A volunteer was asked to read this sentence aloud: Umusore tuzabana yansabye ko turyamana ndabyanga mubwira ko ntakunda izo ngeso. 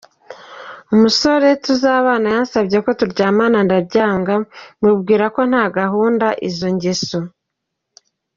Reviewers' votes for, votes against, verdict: 0, 2, rejected